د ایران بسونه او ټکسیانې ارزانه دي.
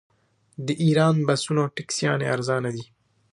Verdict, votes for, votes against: rejected, 0, 2